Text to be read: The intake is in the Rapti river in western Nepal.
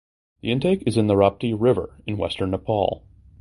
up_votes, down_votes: 2, 0